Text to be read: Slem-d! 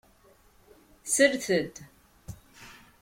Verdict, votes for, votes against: rejected, 0, 2